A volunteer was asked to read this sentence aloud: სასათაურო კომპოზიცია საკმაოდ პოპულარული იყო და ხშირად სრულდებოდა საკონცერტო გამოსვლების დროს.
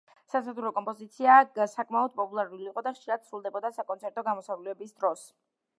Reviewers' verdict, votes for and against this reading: rejected, 1, 2